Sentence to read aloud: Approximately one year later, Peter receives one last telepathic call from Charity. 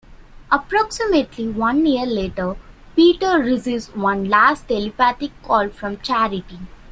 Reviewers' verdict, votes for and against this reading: accepted, 2, 0